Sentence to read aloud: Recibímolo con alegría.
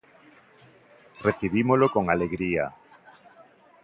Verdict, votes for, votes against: accepted, 2, 0